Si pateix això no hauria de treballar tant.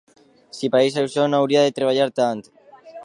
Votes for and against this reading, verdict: 1, 2, rejected